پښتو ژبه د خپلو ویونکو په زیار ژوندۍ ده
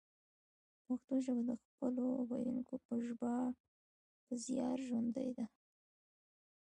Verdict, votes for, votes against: rejected, 1, 2